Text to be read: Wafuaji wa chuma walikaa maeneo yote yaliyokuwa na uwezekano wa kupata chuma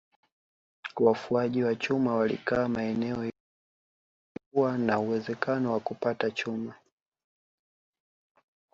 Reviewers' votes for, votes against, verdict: 3, 0, accepted